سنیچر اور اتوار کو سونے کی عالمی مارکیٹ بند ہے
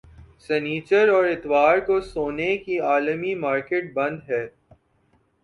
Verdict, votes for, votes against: rejected, 1, 2